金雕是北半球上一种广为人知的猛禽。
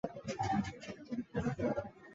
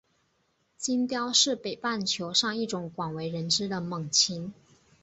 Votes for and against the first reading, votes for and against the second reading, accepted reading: 0, 6, 9, 0, second